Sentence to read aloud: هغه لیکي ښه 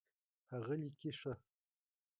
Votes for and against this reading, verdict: 1, 2, rejected